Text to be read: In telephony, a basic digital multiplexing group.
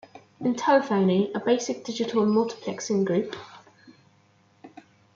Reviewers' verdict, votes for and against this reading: rejected, 1, 2